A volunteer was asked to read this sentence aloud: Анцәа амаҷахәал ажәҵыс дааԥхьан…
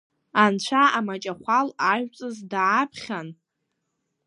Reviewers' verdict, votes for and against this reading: accepted, 2, 0